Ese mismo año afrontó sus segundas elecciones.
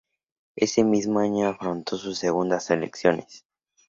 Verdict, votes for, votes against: accepted, 2, 0